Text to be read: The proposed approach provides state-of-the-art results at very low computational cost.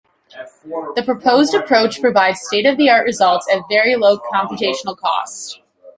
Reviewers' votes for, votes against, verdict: 2, 1, accepted